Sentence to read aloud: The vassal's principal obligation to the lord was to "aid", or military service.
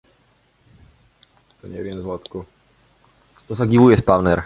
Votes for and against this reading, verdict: 0, 2, rejected